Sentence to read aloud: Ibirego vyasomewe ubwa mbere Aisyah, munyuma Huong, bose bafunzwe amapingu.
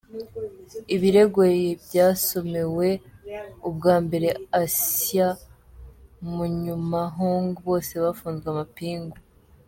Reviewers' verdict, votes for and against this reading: rejected, 0, 2